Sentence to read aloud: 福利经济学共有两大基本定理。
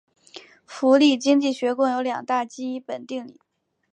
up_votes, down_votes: 3, 0